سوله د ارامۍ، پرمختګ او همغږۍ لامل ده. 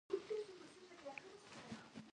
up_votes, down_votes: 1, 2